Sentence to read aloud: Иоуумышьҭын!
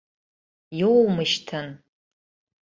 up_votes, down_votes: 0, 2